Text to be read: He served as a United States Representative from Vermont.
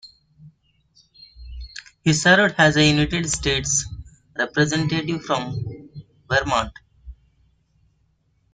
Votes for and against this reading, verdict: 0, 2, rejected